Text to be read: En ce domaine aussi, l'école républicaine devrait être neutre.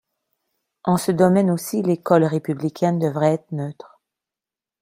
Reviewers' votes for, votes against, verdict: 2, 0, accepted